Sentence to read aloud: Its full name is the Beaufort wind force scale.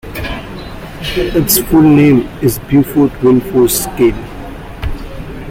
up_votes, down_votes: 1, 2